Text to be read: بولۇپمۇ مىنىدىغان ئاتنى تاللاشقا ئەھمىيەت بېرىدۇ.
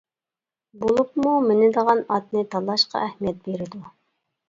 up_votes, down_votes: 2, 0